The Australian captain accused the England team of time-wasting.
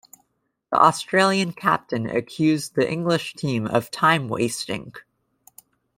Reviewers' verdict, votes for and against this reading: rejected, 1, 2